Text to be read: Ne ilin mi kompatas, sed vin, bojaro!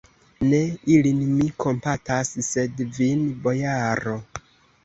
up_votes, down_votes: 2, 0